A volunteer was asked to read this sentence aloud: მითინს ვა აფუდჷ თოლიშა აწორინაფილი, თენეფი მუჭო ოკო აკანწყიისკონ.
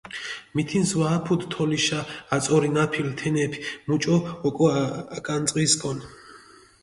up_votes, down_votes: 0, 2